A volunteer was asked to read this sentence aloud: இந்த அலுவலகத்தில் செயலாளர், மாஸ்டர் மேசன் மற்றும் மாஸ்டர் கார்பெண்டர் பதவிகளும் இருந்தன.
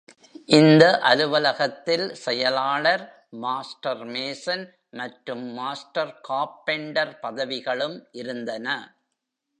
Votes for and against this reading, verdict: 2, 0, accepted